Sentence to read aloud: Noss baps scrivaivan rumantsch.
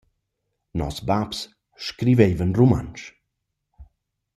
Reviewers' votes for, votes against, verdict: 2, 0, accepted